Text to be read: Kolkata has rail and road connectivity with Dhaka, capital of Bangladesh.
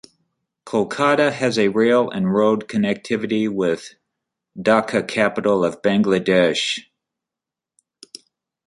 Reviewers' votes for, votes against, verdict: 1, 2, rejected